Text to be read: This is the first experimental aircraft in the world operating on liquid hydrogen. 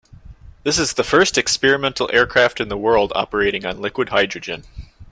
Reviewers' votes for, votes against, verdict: 2, 0, accepted